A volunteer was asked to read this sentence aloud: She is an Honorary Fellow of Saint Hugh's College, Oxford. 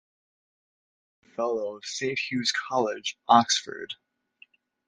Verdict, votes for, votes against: rejected, 0, 2